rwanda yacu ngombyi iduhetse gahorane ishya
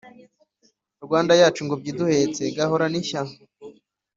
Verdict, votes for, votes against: accepted, 4, 0